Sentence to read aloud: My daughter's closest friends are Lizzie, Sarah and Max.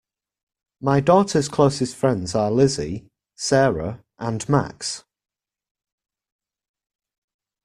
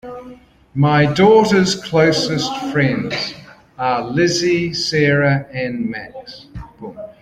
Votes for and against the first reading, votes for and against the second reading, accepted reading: 2, 0, 0, 2, first